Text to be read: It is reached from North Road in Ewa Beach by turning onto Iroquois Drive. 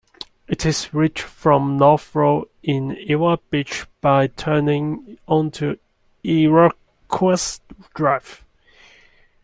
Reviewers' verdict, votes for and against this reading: accepted, 2, 1